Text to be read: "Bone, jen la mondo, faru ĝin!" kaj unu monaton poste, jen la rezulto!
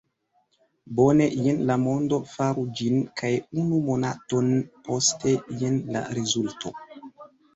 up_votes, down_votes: 2, 0